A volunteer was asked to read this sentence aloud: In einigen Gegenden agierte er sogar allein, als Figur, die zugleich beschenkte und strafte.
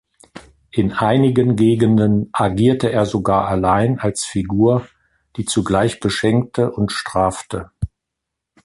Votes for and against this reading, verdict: 2, 0, accepted